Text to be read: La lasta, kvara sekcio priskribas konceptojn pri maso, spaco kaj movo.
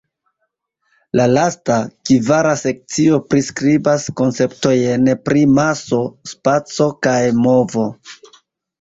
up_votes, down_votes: 2, 0